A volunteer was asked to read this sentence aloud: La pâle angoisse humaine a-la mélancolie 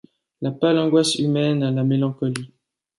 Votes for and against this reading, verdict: 2, 0, accepted